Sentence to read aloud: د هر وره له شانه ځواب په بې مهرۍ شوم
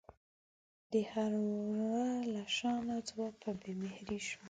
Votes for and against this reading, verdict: 2, 0, accepted